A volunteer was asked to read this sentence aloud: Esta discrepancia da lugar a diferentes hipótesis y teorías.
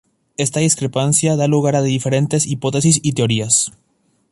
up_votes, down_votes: 2, 0